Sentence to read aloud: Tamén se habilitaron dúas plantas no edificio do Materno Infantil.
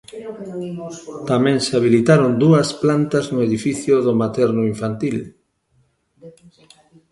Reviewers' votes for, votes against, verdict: 1, 2, rejected